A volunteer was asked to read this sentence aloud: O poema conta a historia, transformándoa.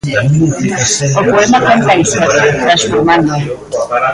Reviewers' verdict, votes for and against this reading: rejected, 0, 2